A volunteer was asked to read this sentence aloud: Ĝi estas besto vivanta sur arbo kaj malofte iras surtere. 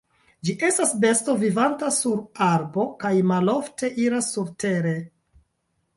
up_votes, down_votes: 1, 2